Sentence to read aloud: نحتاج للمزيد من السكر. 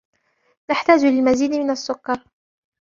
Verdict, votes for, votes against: accepted, 2, 0